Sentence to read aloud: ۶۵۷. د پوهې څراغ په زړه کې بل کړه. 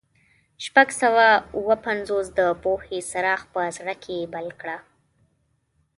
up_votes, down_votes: 0, 2